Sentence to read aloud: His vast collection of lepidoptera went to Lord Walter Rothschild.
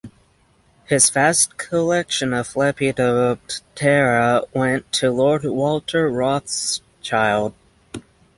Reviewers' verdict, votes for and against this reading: rejected, 3, 3